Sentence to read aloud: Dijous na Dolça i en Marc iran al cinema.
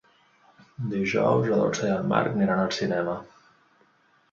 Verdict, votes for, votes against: rejected, 1, 2